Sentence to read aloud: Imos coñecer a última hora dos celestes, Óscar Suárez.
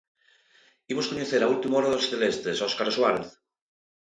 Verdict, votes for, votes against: accepted, 2, 0